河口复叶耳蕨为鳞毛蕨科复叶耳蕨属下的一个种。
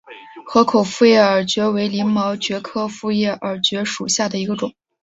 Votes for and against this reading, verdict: 2, 0, accepted